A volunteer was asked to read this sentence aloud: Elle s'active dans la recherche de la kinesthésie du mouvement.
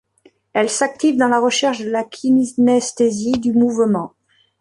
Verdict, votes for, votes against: rejected, 0, 2